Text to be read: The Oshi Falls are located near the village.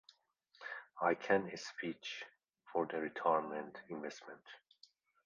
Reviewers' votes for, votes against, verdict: 0, 2, rejected